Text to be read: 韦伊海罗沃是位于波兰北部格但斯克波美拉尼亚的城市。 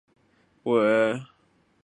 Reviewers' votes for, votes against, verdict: 3, 5, rejected